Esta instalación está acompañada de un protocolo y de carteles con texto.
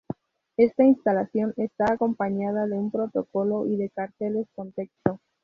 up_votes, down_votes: 2, 0